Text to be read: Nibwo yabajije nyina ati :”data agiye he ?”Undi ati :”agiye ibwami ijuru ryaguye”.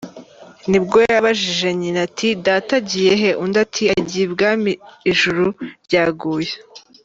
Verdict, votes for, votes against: accepted, 2, 0